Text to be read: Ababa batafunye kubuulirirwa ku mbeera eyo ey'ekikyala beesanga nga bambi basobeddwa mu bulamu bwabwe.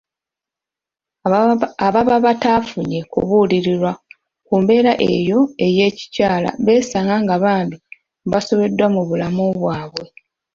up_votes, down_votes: 1, 2